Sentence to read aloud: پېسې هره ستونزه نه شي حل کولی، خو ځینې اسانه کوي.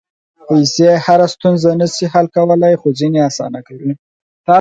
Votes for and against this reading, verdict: 4, 0, accepted